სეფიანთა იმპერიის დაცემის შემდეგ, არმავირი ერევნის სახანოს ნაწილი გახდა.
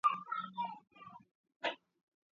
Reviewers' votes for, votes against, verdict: 2, 1, accepted